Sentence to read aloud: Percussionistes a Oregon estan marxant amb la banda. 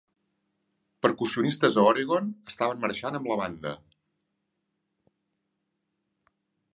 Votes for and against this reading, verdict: 1, 2, rejected